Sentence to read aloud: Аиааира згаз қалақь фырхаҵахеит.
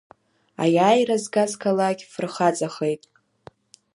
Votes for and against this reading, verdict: 2, 0, accepted